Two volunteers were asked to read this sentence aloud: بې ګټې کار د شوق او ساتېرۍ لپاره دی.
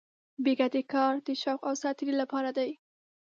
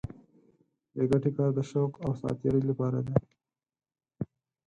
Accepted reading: first